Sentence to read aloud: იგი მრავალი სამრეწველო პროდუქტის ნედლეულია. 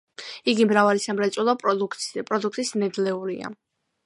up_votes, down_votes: 2, 0